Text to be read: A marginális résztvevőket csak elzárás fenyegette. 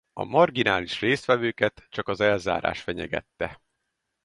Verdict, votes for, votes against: rejected, 0, 4